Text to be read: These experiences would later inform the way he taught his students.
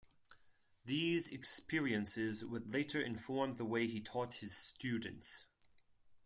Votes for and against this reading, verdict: 4, 0, accepted